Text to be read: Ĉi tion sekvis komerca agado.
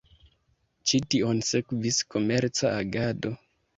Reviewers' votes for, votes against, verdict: 3, 0, accepted